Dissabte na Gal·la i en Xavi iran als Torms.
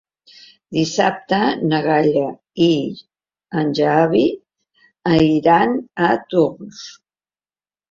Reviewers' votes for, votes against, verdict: 1, 2, rejected